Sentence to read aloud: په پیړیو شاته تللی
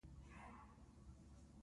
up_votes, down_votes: 1, 2